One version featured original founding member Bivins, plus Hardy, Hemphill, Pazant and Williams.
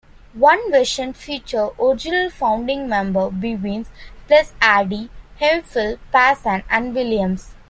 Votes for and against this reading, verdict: 2, 1, accepted